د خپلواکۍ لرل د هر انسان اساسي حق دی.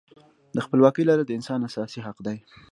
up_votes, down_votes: 3, 0